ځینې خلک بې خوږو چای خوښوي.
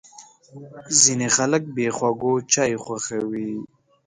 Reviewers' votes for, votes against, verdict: 2, 0, accepted